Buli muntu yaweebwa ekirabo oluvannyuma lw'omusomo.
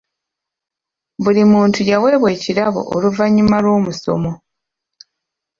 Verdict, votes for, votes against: accepted, 2, 0